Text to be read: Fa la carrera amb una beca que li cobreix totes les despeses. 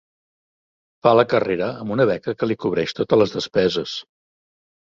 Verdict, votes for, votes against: accepted, 4, 0